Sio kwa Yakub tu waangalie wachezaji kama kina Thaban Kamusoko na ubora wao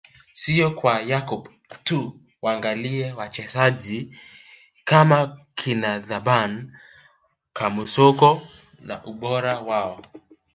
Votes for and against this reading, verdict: 2, 0, accepted